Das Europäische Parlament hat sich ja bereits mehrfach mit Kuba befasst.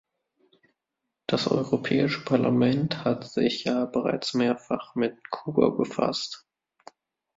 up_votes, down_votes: 2, 1